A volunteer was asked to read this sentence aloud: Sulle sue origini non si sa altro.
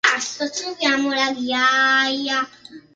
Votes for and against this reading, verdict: 0, 3, rejected